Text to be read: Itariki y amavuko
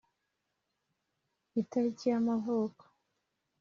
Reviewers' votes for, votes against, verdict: 2, 0, accepted